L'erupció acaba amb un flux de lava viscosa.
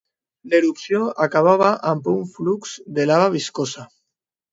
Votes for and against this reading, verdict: 1, 2, rejected